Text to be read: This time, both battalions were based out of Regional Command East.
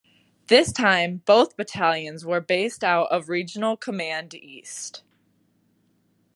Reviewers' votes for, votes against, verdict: 0, 2, rejected